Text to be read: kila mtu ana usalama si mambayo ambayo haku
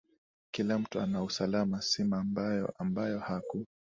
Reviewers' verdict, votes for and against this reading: accepted, 2, 0